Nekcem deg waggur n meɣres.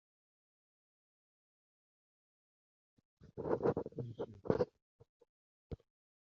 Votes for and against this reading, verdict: 0, 2, rejected